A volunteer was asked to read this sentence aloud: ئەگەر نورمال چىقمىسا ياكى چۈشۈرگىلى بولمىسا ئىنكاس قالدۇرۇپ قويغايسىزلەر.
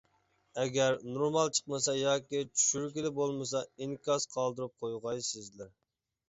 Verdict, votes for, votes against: accepted, 2, 0